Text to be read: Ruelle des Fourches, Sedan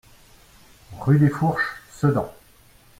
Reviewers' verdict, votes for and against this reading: rejected, 0, 2